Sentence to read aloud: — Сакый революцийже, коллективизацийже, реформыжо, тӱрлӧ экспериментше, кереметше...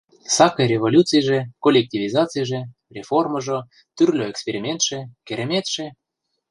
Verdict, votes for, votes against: accepted, 2, 0